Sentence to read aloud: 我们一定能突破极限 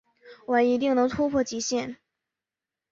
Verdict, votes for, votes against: accepted, 4, 2